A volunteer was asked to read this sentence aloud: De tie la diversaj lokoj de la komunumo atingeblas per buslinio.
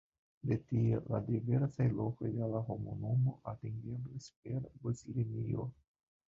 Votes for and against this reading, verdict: 1, 2, rejected